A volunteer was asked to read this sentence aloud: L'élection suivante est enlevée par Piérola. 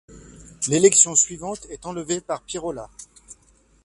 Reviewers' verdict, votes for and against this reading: accepted, 2, 0